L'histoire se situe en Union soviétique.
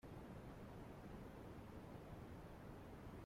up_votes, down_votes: 0, 2